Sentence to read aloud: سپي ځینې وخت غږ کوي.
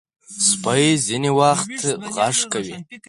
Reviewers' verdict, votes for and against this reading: rejected, 2, 4